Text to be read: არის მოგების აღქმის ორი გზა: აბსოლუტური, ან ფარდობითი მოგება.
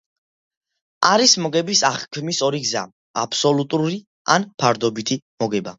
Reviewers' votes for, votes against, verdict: 2, 0, accepted